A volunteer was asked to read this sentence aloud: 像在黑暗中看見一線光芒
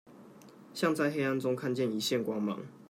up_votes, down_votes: 2, 1